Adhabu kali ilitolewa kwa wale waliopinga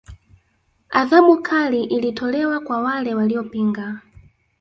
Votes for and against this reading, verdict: 2, 0, accepted